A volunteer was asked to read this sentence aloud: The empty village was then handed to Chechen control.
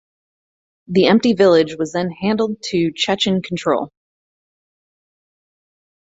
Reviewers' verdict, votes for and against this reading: accepted, 4, 2